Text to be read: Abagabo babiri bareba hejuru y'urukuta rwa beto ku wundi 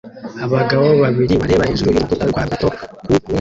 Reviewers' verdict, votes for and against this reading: rejected, 0, 2